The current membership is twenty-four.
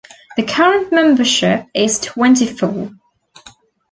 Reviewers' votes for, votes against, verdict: 2, 0, accepted